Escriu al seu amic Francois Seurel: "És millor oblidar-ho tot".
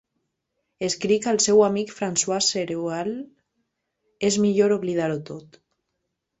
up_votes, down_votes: 0, 2